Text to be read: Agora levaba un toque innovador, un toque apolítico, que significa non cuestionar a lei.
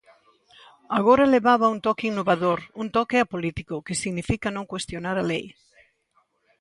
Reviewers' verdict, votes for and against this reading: accepted, 2, 0